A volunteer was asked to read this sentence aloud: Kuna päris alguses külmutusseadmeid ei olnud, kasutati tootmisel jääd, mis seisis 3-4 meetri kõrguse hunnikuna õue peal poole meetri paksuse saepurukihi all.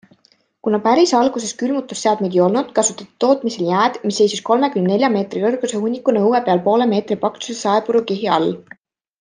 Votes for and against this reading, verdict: 0, 2, rejected